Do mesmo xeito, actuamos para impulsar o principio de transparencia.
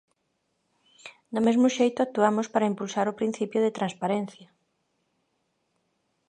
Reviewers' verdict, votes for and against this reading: accepted, 2, 1